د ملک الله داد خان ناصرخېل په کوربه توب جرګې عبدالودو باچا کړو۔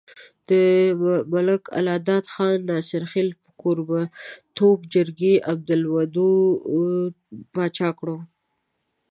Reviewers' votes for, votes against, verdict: 0, 2, rejected